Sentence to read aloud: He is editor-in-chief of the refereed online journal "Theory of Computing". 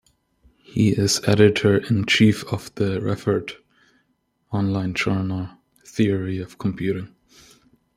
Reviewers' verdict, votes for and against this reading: rejected, 1, 2